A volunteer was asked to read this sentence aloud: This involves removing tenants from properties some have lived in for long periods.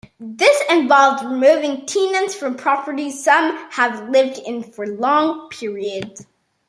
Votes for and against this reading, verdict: 0, 2, rejected